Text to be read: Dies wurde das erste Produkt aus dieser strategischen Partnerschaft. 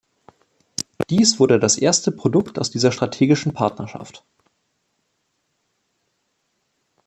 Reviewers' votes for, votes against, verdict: 2, 0, accepted